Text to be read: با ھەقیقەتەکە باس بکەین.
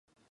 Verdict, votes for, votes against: rejected, 0, 2